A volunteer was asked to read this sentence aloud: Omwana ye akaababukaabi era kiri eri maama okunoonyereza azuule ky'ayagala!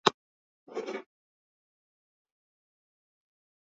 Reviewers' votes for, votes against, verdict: 0, 2, rejected